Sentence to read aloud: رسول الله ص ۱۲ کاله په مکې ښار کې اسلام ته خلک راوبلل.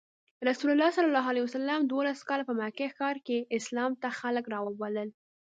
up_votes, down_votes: 0, 2